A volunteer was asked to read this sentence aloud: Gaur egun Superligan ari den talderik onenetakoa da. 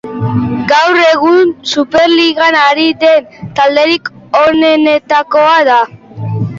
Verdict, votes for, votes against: rejected, 0, 2